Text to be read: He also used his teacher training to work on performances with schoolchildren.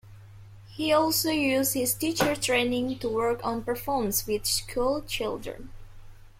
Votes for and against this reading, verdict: 2, 0, accepted